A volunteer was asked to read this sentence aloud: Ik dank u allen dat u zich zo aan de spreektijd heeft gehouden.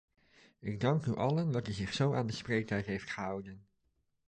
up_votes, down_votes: 2, 0